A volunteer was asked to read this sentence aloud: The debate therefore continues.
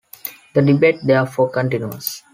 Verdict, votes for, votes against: accepted, 2, 0